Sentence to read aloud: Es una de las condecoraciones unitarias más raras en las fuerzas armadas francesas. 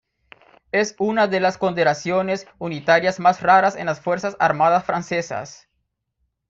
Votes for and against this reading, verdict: 1, 3, rejected